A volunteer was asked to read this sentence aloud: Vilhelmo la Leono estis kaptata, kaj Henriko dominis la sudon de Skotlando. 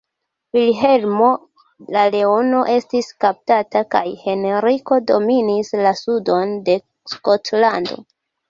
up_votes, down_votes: 1, 2